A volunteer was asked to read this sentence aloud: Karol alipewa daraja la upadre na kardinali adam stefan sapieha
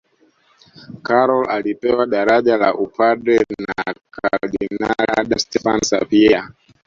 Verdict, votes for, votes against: rejected, 1, 2